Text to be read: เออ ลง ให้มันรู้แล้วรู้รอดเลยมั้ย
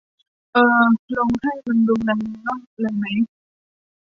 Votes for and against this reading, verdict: 1, 2, rejected